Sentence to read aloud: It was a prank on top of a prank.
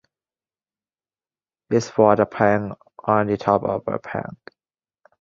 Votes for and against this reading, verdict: 0, 2, rejected